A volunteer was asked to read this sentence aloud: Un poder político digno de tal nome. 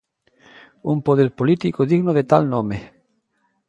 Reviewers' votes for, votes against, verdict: 2, 0, accepted